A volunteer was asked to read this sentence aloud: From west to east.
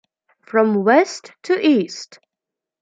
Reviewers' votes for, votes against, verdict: 2, 0, accepted